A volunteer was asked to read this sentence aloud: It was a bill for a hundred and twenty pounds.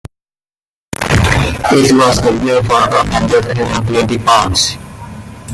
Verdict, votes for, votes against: rejected, 1, 2